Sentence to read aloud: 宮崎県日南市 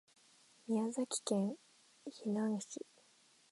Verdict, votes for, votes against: rejected, 0, 2